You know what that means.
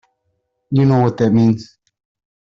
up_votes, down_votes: 2, 0